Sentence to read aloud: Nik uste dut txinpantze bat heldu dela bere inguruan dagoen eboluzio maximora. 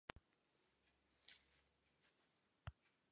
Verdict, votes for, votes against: rejected, 0, 2